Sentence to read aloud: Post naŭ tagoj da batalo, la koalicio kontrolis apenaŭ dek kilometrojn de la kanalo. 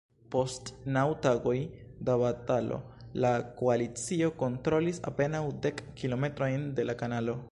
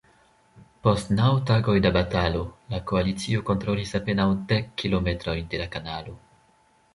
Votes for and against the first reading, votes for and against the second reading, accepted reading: 2, 3, 2, 0, second